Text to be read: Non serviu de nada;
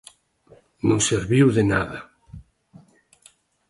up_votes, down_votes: 2, 0